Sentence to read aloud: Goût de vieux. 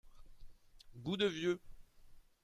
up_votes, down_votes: 2, 0